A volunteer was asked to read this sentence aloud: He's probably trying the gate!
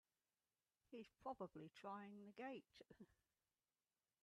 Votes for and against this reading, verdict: 1, 2, rejected